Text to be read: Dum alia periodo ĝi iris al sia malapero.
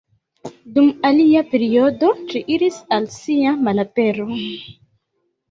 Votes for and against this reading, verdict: 0, 2, rejected